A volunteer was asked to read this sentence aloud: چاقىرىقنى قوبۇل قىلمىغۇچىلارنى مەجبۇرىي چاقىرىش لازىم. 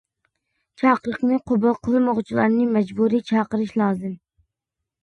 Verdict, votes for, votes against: accepted, 2, 0